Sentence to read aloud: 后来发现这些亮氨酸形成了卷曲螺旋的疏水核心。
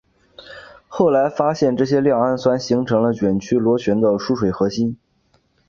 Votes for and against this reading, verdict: 3, 0, accepted